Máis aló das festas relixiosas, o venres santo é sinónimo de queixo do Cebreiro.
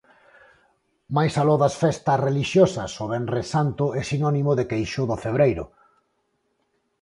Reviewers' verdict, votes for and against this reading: accepted, 4, 0